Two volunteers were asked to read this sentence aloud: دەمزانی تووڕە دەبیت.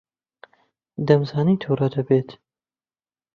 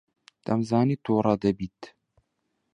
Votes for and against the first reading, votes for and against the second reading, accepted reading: 0, 2, 2, 0, second